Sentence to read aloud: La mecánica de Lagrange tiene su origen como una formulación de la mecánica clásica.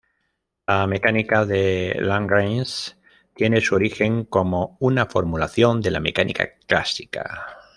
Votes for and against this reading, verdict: 0, 2, rejected